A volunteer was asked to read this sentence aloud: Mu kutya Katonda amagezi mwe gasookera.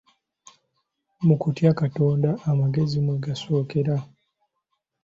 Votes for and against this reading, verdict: 2, 0, accepted